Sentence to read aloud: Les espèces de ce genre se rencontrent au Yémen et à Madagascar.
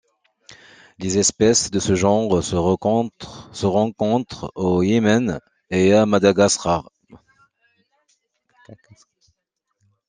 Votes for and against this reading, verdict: 0, 2, rejected